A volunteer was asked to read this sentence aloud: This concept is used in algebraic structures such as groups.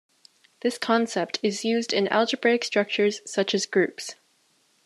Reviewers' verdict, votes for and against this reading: accepted, 2, 0